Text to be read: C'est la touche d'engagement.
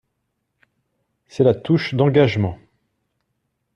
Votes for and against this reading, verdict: 2, 0, accepted